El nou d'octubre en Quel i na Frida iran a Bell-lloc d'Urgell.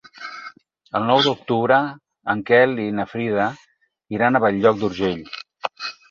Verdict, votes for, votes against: accepted, 6, 0